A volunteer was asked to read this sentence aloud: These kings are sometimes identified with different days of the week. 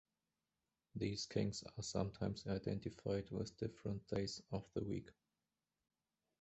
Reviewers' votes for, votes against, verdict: 0, 2, rejected